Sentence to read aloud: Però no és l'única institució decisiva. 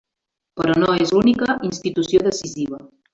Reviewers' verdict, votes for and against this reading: rejected, 0, 2